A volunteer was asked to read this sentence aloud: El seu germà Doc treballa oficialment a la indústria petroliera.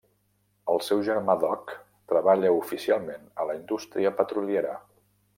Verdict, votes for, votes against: accepted, 2, 0